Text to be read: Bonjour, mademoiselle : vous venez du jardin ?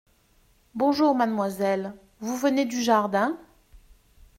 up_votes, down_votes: 1, 2